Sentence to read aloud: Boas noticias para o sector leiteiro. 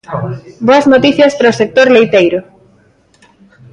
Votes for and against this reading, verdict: 2, 0, accepted